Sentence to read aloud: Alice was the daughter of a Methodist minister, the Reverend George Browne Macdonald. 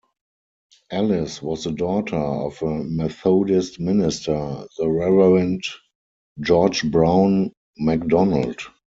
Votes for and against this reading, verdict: 2, 4, rejected